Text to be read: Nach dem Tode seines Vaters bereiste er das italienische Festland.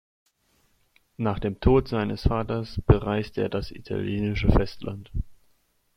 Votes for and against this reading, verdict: 0, 2, rejected